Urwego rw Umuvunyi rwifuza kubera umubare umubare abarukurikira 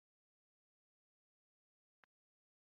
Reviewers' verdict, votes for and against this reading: rejected, 0, 2